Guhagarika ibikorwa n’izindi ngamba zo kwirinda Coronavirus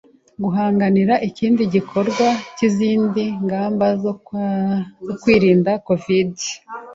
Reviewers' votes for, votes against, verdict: 0, 2, rejected